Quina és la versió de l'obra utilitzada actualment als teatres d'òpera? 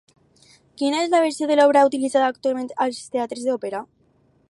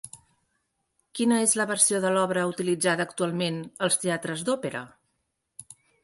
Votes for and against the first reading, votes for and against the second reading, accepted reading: 2, 2, 5, 0, second